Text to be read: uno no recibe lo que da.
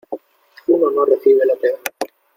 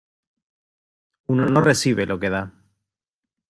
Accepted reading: second